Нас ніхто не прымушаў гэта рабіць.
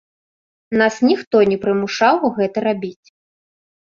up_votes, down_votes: 2, 0